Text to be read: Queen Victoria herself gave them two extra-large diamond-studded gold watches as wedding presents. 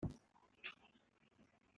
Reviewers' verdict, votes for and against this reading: rejected, 0, 2